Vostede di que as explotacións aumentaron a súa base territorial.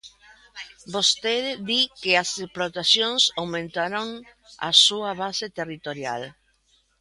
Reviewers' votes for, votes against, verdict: 1, 2, rejected